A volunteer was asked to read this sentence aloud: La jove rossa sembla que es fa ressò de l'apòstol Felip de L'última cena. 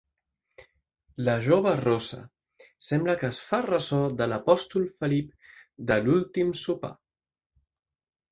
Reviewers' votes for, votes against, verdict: 1, 2, rejected